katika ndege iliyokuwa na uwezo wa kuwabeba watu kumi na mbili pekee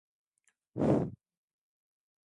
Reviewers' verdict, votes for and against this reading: rejected, 0, 2